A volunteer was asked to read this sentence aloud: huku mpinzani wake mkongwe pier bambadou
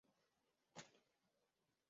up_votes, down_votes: 0, 2